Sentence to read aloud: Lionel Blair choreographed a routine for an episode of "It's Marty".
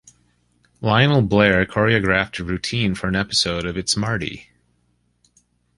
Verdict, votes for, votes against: accepted, 2, 0